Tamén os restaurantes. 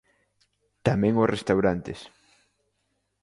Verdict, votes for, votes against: accepted, 2, 0